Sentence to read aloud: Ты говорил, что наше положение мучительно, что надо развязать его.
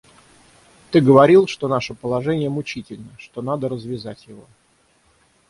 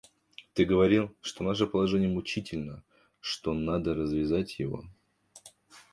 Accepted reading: second